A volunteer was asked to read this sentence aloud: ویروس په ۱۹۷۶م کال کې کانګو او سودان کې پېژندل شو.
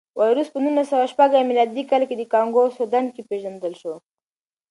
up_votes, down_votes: 0, 2